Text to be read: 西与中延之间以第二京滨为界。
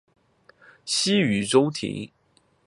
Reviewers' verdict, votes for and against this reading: rejected, 1, 4